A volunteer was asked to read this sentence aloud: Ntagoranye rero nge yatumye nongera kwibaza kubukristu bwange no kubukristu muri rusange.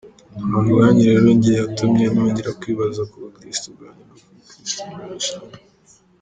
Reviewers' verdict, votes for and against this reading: rejected, 0, 2